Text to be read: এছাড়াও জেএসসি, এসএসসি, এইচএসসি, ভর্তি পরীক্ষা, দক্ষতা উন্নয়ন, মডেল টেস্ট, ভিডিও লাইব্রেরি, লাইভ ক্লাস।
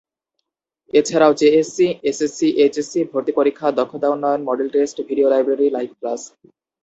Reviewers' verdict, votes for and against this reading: accepted, 2, 0